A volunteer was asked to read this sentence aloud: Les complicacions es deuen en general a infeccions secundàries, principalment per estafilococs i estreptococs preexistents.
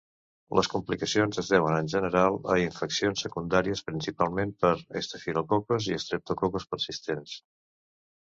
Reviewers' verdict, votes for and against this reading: accepted, 2, 0